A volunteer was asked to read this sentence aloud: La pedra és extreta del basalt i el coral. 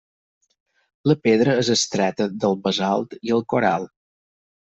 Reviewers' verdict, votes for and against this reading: accepted, 4, 0